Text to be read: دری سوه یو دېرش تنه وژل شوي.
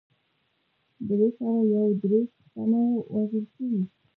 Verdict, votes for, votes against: rejected, 1, 2